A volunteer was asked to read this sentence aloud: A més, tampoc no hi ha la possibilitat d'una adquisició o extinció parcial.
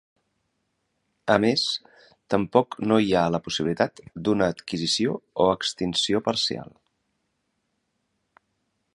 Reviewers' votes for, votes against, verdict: 4, 0, accepted